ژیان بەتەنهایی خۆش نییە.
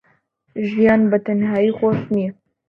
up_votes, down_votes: 2, 0